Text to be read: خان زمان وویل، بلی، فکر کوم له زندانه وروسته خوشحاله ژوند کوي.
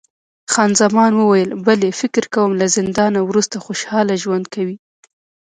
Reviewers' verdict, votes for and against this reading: rejected, 0, 2